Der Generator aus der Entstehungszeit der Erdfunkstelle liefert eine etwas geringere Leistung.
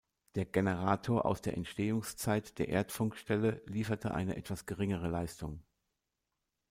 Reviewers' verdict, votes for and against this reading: rejected, 0, 2